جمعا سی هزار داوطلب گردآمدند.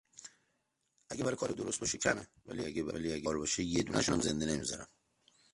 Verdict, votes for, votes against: rejected, 0, 2